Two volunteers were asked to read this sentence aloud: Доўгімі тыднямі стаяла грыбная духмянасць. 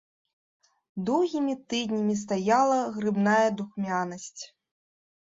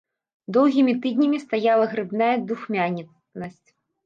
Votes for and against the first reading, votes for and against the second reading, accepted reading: 2, 0, 0, 2, first